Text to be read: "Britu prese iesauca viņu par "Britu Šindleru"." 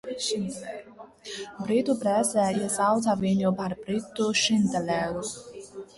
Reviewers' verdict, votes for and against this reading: rejected, 0, 2